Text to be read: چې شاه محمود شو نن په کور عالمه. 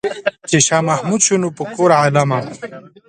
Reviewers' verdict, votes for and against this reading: rejected, 0, 2